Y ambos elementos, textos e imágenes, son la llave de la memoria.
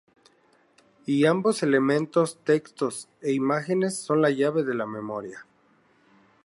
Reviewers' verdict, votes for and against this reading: rejected, 0, 2